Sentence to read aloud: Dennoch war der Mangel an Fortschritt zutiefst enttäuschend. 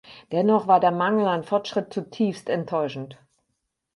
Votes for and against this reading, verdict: 8, 0, accepted